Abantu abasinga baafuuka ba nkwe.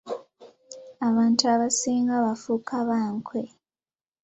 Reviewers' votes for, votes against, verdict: 0, 2, rejected